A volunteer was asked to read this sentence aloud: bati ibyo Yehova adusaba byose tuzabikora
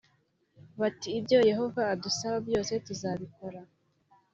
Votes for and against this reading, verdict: 3, 0, accepted